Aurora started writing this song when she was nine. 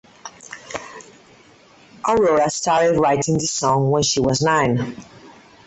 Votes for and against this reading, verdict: 4, 0, accepted